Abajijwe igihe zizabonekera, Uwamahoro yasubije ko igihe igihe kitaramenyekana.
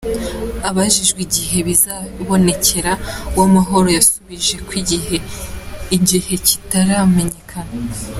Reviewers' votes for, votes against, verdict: 3, 1, accepted